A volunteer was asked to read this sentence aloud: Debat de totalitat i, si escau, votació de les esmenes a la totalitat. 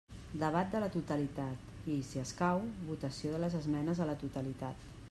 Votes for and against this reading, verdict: 0, 2, rejected